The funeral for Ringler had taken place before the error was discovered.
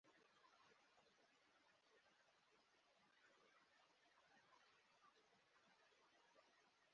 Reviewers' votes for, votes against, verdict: 0, 2, rejected